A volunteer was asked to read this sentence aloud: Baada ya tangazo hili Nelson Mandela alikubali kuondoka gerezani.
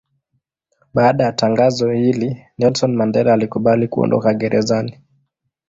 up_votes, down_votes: 2, 0